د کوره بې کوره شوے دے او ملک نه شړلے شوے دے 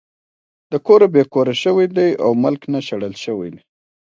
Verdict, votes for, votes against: accepted, 3, 0